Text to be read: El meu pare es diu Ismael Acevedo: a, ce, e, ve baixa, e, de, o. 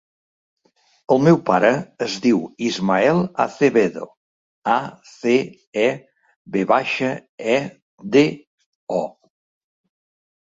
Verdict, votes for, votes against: rejected, 1, 2